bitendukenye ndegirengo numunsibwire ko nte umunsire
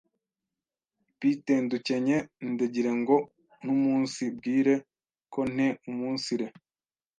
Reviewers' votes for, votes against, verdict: 1, 2, rejected